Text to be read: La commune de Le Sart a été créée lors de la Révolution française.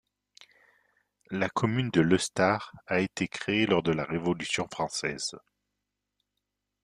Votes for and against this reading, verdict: 0, 2, rejected